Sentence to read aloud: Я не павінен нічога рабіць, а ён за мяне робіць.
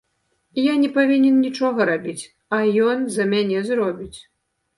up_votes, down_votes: 0, 2